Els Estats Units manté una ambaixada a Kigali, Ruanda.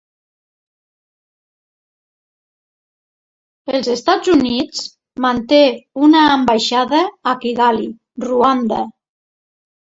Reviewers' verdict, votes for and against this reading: rejected, 1, 2